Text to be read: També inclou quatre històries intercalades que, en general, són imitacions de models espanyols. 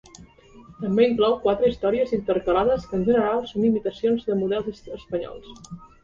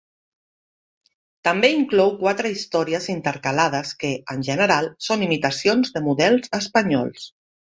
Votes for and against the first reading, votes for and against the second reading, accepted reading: 0, 2, 2, 0, second